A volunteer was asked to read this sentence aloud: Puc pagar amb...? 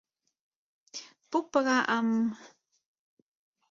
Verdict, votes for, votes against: accepted, 4, 0